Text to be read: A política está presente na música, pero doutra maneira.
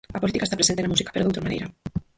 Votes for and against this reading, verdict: 0, 4, rejected